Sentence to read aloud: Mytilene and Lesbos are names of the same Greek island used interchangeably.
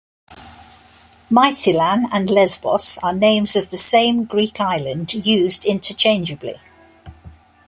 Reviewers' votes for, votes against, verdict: 2, 0, accepted